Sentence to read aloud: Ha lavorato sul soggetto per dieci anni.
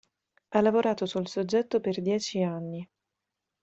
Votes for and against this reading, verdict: 2, 0, accepted